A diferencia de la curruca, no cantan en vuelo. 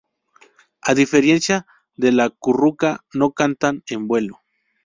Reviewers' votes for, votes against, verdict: 2, 2, rejected